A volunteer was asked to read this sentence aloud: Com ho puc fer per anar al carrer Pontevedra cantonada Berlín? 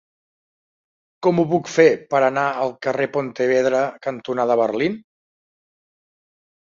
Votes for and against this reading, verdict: 3, 0, accepted